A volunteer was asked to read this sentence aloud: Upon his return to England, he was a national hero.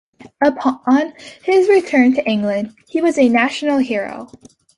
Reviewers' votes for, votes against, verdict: 2, 1, accepted